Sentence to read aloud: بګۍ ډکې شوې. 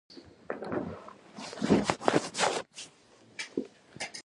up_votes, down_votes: 2, 1